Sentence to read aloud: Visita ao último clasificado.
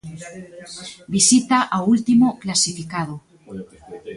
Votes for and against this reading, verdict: 2, 1, accepted